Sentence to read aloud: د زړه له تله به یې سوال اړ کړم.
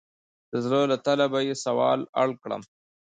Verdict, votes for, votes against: rejected, 0, 2